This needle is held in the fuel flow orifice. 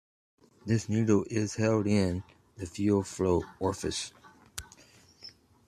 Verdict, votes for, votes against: accepted, 2, 0